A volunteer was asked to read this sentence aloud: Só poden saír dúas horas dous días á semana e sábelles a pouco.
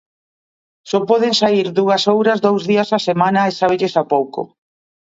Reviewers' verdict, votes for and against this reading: rejected, 1, 2